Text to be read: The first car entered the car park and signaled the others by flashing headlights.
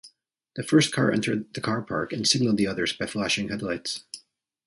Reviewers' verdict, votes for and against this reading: accepted, 2, 0